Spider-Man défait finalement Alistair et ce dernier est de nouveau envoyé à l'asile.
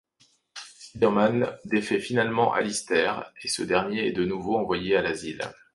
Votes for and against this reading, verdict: 1, 2, rejected